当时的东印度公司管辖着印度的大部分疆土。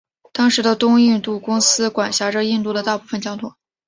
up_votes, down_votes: 3, 0